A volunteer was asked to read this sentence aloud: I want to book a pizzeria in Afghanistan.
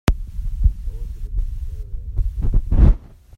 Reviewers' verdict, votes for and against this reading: rejected, 0, 2